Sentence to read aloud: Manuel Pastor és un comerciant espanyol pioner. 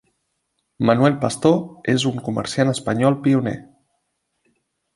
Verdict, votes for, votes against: rejected, 0, 2